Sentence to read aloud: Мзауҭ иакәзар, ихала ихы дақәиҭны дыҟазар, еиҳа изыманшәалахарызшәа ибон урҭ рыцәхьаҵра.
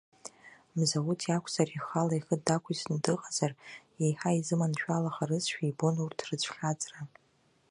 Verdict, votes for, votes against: rejected, 0, 2